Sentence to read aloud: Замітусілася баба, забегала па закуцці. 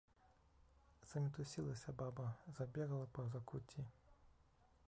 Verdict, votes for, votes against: rejected, 1, 2